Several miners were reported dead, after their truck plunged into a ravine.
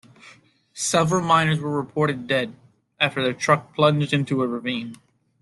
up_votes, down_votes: 2, 0